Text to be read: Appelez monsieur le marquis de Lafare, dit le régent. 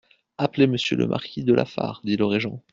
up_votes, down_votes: 2, 0